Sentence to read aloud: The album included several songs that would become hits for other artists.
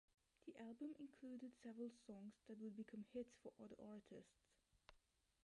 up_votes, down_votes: 0, 2